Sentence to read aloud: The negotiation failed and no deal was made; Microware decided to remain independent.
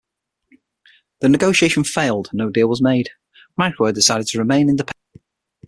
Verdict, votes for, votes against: rejected, 3, 6